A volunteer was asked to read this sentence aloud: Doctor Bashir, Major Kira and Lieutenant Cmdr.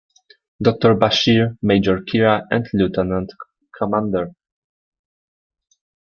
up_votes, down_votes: 1, 2